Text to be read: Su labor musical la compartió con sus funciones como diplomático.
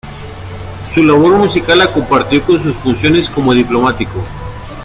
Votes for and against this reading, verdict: 2, 1, accepted